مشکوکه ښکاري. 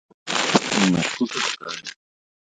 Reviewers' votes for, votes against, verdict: 0, 2, rejected